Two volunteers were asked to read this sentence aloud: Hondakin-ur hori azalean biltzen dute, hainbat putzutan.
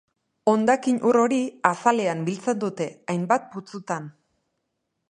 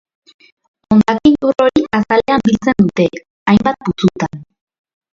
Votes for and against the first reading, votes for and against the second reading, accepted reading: 2, 0, 0, 2, first